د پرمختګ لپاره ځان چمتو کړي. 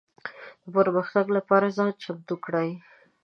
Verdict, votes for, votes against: rejected, 0, 2